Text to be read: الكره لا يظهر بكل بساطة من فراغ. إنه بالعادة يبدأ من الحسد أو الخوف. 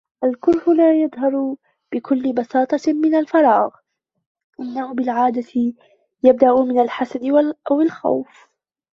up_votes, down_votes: 1, 2